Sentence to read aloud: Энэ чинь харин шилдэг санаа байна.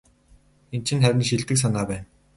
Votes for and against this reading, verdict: 4, 0, accepted